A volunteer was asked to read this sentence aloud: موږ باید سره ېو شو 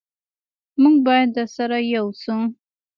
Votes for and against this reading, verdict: 3, 0, accepted